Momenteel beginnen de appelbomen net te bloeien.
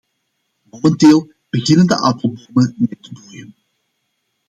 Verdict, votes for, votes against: rejected, 0, 2